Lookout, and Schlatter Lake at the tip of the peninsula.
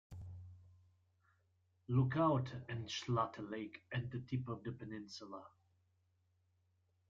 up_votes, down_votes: 2, 1